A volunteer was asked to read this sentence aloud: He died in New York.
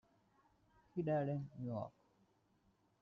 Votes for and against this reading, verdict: 2, 0, accepted